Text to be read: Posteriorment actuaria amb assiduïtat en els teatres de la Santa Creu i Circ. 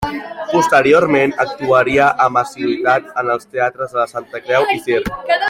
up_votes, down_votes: 0, 2